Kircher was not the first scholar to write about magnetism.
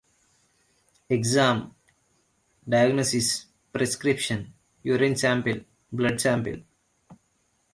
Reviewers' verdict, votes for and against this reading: rejected, 0, 2